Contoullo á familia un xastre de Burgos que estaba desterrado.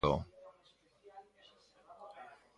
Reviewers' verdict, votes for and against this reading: rejected, 0, 2